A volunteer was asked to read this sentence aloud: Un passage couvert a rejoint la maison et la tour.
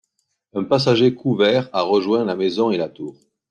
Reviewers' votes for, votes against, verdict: 1, 2, rejected